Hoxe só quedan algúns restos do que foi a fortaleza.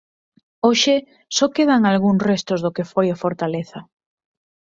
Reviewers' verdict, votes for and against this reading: accepted, 4, 0